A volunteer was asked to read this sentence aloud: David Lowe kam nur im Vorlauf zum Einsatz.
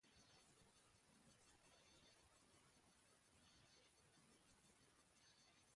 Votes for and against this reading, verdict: 0, 2, rejected